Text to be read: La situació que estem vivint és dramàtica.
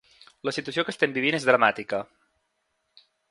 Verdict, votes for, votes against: accepted, 3, 0